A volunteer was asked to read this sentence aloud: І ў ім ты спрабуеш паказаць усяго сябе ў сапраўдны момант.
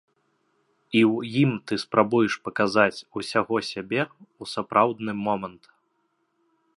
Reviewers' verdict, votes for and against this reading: accepted, 2, 0